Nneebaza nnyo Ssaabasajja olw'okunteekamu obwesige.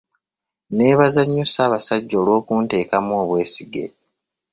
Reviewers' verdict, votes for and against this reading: accepted, 2, 0